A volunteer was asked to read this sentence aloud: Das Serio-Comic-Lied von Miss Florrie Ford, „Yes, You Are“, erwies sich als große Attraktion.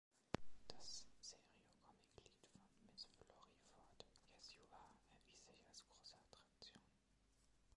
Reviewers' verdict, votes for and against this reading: rejected, 0, 2